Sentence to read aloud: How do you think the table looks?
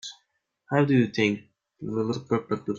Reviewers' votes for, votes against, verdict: 0, 2, rejected